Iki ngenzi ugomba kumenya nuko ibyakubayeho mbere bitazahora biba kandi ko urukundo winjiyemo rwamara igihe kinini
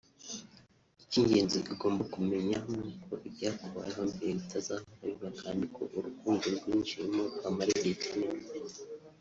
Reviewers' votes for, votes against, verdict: 1, 2, rejected